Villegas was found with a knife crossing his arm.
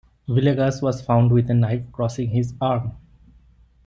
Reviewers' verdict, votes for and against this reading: accepted, 2, 0